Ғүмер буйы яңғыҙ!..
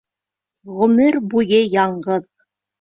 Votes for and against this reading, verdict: 2, 0, accepted